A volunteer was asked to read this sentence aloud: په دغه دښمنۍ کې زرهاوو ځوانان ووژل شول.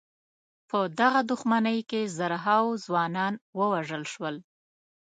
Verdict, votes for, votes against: accepted, 2, 0